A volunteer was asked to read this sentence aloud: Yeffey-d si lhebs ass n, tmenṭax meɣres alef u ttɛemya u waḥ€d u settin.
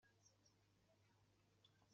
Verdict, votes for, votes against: rejected, 1, 2